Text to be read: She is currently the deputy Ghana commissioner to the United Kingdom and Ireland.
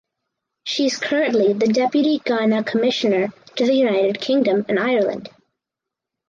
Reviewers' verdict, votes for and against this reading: accepted, 4, 0